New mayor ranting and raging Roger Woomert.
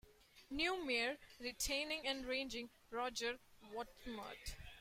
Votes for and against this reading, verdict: 0, 2, rejected